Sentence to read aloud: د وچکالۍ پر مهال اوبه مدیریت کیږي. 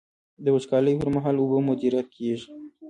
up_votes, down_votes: 2, 1